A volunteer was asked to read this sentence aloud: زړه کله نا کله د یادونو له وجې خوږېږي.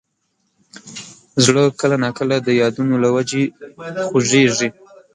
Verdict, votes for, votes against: rejected, 1, 2